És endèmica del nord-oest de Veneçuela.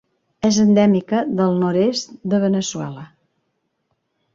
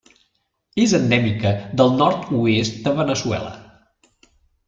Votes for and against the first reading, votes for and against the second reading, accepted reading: 1, 2, 2, 0, second